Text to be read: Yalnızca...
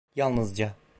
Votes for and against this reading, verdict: 2, 0, accepted